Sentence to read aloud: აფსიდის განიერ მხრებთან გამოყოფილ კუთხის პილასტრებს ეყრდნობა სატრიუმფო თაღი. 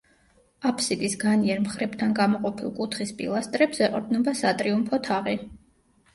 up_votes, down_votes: 2, 0